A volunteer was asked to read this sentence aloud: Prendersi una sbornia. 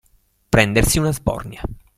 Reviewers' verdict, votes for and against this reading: accepted, 2, 0